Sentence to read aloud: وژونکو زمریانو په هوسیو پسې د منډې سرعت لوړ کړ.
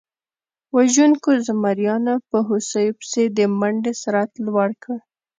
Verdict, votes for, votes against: accepted, 2, 0